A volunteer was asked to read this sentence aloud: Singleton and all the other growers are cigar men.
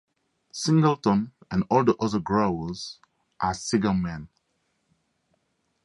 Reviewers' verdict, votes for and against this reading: accepted, 2, 0